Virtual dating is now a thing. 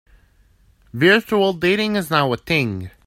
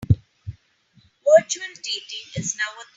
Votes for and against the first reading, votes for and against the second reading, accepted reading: 3, 1, 0, 3, first